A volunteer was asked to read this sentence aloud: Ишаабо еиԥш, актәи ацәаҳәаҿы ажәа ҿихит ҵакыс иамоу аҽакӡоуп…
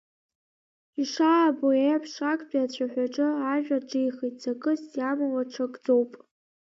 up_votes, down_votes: 2, 0